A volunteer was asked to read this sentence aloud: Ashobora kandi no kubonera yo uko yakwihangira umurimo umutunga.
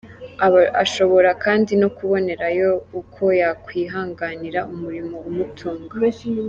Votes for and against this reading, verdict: 0, 2, rejected